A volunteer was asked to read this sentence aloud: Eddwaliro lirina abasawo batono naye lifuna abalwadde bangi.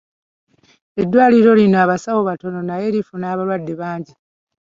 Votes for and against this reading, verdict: 0, 2, rejected